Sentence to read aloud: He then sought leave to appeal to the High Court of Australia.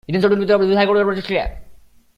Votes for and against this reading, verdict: 0, 2, rejected